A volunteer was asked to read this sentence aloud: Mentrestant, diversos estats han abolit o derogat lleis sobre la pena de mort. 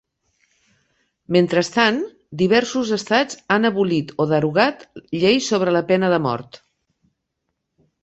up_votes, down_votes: 4, 0